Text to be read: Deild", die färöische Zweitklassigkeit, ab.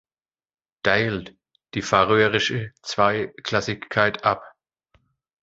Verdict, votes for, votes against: rejected, 1, 2